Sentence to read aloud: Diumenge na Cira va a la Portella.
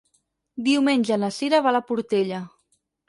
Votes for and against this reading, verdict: 6, 0, accepted